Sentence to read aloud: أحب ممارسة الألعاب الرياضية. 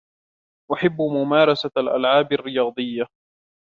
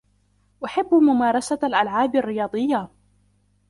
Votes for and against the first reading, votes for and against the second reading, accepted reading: 2, 0, 1, 2, first